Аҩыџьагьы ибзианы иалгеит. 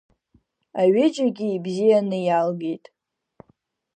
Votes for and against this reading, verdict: 2, 0, accepted